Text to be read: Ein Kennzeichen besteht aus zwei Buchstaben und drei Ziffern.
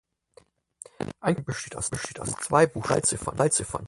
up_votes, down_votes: 0, 4